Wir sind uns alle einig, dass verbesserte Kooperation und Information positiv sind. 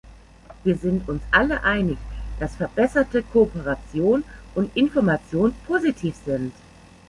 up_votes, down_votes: 2, 0